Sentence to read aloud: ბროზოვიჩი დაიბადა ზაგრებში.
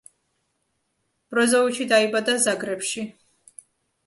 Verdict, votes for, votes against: accepted, 2, 0